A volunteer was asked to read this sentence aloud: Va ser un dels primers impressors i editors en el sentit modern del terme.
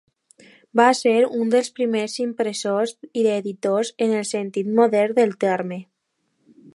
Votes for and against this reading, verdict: 2, 0, accepted